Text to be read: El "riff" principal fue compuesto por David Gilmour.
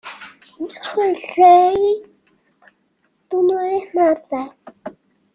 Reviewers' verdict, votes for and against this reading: rejected, 0, 2